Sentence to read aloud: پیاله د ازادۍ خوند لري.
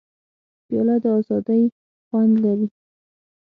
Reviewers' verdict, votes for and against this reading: accepted, 6, 0